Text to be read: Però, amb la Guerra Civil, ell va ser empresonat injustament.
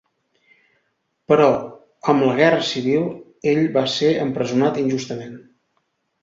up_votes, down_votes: 2, 0